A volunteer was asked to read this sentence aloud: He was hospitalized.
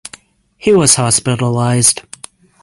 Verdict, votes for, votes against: accepted, 6, 0